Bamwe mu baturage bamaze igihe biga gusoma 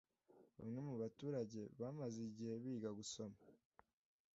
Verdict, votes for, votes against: rejected, 0, 2